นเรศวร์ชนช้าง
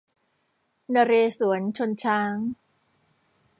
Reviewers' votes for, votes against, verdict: 0, 2, rejected